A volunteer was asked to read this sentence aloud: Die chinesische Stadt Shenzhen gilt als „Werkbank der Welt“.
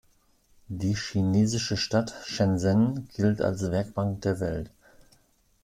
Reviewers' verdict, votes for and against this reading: rejected, 1, 2